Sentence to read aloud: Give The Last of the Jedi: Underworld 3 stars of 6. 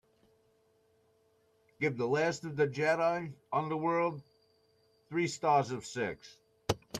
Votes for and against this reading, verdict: 0, 2, rejected